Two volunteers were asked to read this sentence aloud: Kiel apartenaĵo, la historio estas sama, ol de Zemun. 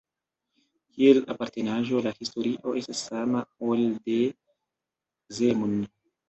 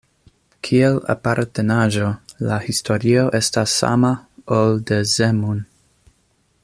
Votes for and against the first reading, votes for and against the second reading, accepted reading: 0, 2, 2, 0, second